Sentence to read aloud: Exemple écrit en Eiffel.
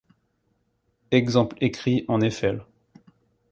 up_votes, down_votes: 2, 0